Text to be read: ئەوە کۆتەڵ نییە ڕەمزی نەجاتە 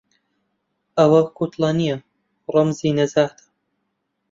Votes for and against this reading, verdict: 0, 2, rejected